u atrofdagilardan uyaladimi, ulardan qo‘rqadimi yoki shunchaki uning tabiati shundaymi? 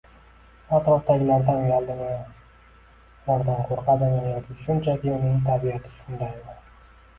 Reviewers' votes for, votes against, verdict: 2, 0, accepted